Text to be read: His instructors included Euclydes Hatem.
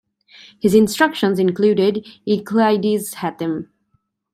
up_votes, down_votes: 0, 2